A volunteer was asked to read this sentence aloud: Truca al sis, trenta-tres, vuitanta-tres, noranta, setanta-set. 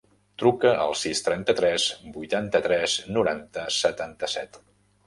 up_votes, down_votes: 3, 0